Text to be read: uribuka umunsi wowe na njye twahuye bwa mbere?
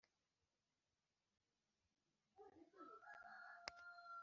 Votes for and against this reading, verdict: 1, 3, rejected